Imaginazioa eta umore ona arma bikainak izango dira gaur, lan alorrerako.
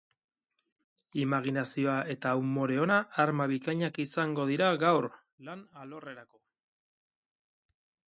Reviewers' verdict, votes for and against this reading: accepted, 4, 0